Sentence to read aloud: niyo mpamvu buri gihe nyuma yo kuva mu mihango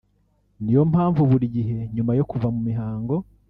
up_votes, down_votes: 1, 2